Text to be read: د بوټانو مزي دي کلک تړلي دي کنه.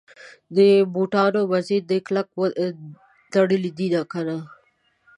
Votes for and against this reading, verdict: 1, 2, rejected